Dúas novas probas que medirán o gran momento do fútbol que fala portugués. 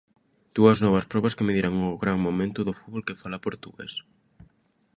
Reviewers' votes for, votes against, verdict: 2, 0, accepted